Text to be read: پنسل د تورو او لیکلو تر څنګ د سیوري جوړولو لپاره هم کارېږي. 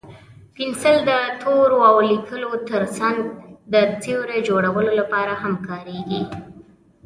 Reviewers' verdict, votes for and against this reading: accepted, 2, 1